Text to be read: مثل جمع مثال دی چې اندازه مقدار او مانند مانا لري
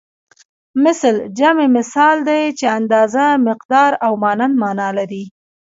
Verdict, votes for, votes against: rejected, 1, 2